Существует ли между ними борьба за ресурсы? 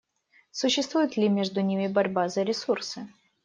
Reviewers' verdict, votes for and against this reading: accepted, 2, 0